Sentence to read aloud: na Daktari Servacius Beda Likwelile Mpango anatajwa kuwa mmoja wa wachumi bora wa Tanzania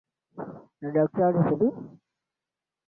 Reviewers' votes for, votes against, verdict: 0, 2, rejected